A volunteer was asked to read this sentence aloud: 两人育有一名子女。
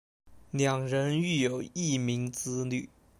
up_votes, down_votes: 2, 0